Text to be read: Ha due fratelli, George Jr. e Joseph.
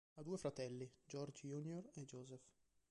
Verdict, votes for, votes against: accepted, 2, 0